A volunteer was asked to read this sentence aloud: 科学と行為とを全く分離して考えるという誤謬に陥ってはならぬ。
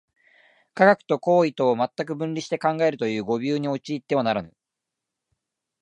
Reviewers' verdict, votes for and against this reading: accepted, 2, 0